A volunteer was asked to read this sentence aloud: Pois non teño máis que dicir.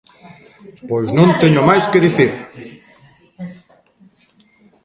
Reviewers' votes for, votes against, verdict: 0, 2, rejected